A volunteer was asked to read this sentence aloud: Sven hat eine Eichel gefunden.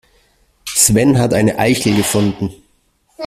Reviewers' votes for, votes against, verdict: 0, 2, rejected